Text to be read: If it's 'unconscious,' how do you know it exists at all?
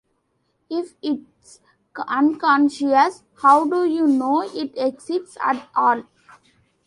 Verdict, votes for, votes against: rejected, 1, 2